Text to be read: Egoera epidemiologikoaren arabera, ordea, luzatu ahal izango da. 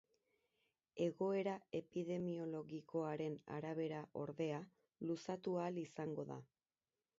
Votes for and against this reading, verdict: 2, 0, accepted